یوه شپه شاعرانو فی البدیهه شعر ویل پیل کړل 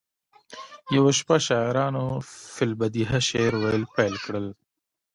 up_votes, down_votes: 1, 2